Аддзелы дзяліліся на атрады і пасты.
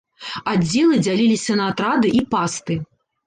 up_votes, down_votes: 0, 2